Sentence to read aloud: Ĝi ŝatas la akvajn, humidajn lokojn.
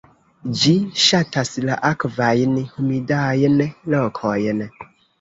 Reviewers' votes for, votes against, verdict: 0, 2, rejected